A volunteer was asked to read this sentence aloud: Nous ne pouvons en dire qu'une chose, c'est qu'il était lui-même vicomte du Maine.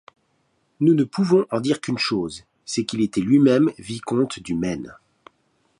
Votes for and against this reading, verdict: 2, 0, accepted